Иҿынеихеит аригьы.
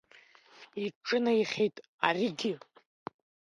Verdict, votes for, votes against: rejected, 1, 2